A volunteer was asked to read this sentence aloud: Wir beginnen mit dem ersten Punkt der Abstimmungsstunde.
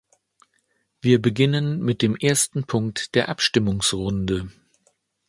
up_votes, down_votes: 1, 2